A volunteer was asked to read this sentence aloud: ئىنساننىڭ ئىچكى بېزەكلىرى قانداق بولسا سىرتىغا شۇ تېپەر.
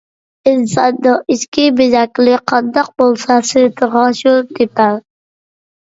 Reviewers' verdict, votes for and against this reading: rejected, 1, 2